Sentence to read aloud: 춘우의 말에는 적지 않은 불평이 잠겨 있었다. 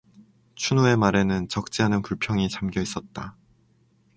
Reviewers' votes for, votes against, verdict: 2, 0, accepted